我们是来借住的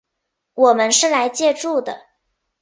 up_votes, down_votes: 4, 0